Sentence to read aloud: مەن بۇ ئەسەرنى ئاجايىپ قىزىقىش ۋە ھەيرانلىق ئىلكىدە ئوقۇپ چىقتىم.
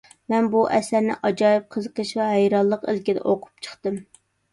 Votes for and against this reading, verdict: 2, 0, accepted